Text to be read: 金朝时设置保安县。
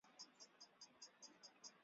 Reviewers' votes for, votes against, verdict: 0, 2, rejected